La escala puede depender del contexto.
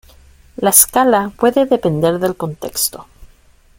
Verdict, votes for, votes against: accepted, 2, 0